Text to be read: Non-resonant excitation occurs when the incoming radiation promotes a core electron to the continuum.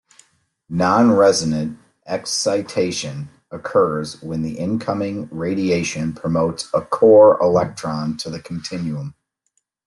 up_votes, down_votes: 2, 0